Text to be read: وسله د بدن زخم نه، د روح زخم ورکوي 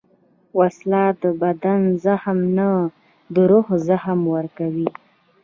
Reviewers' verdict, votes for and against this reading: accepted, 2, 0